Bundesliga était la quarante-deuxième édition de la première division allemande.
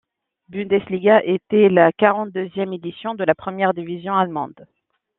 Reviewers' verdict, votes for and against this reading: accepted, 2, 1